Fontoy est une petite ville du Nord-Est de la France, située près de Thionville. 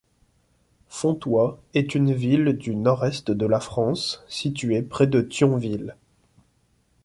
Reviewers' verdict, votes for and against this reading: rejected, 1, 2